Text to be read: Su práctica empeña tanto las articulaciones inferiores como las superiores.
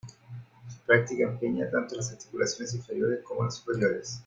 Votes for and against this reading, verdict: 0, 2, rejected